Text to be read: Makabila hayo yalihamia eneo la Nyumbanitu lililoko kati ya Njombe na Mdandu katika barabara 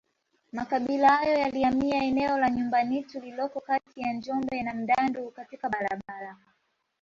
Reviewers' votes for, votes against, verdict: 2, 1, accepted